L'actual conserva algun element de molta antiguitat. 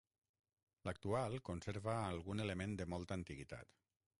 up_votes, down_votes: 0, 6